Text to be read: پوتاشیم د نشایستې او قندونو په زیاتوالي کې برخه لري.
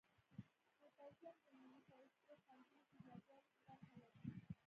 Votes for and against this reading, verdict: 1, 2, rejected